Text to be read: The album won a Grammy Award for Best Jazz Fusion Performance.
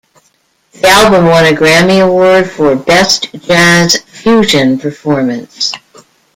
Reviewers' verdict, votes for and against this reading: rejected, 0, 2